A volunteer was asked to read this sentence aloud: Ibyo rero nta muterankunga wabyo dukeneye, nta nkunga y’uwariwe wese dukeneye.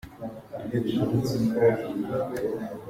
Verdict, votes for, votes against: rejected, 0, 2